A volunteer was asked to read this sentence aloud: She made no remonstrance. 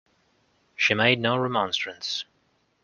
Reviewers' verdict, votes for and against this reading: accepted, 2, 0